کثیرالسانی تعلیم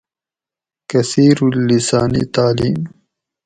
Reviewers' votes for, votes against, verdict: 2, 0, accepted